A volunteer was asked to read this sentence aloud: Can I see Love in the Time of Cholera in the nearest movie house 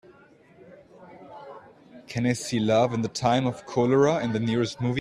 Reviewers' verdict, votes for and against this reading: rejected, 0, 2